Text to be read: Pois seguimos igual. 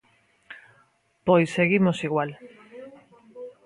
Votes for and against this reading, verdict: 0, 2, rejected